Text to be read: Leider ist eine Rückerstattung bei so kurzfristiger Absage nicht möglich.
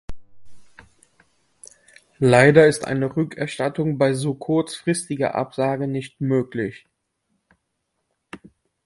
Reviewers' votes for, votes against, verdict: 2, 0, accepted